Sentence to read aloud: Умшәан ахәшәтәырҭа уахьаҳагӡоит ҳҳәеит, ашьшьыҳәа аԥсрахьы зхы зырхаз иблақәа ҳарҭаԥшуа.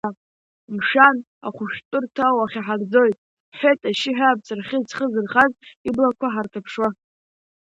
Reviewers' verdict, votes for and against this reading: rejected, 0, 2